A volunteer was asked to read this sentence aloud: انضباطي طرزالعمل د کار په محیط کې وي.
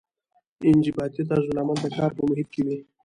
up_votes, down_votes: 0, 2